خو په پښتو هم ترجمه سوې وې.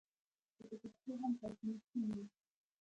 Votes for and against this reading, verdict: 0, 2, rejected